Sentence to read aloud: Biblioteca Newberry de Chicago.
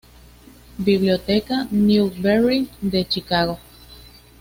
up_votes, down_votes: 2, 0